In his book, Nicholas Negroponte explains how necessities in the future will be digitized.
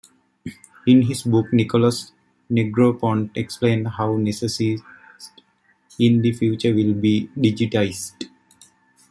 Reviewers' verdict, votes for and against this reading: accepted, 2, 0